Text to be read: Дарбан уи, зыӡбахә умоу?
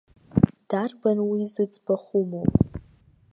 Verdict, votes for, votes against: rejected, 0, 2